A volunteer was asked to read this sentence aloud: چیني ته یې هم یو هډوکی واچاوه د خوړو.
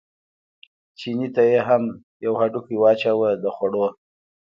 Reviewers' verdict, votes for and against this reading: accepted, 2, 0